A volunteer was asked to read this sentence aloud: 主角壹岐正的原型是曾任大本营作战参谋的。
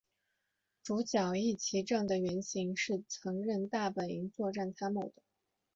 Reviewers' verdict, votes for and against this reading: accepted, 2, 0